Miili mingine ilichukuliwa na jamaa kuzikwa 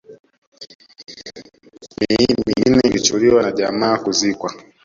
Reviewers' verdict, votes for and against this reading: rejected, 1, 2